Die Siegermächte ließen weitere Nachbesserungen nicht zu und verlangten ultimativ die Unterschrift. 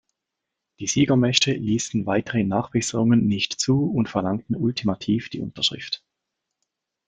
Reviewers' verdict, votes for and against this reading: accepted, 2, 0